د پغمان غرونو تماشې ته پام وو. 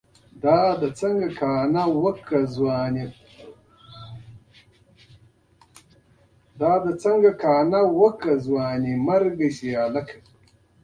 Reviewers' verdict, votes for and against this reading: rejected, 0, 2